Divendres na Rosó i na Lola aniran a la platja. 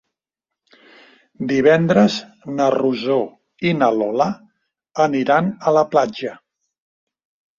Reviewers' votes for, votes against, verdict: 3, 0, accepted